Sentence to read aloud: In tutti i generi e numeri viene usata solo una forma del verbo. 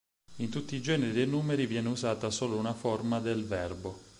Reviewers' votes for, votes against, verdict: 4, 0, accepted